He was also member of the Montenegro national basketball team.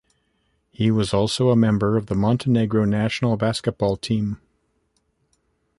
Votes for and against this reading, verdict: 2, 0, accepted